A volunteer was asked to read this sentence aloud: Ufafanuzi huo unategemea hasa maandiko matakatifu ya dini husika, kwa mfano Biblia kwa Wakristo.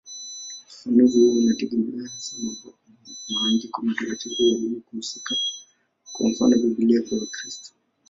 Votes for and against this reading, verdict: 0, 2, rejected